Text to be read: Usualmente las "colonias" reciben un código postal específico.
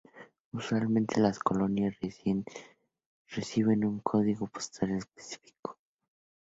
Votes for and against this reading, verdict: 0, 2, rejected